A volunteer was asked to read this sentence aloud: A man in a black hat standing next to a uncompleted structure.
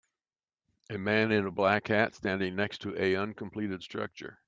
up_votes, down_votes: 1, 2